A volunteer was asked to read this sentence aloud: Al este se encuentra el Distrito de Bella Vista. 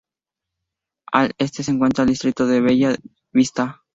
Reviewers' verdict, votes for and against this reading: rejected, 0, 2